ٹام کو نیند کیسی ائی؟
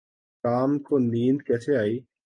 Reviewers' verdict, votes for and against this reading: accepted, 3, 1